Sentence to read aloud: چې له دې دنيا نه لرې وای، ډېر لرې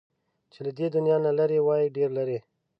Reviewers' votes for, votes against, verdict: 2, 0, accepted